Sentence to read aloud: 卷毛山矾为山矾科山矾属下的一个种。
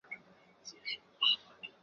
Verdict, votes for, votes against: rejected, 0, 2